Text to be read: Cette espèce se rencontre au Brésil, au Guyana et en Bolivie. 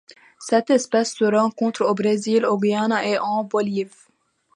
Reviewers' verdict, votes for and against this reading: accepted, 2, 0